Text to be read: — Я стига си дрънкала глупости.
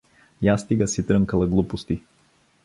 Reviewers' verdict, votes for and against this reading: accepted, 2, 0